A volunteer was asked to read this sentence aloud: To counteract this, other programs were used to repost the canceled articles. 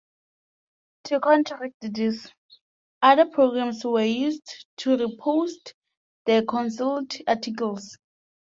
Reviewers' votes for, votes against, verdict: 2, 1, accepted